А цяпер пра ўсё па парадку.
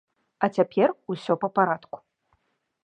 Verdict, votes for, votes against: rejected, 1, 2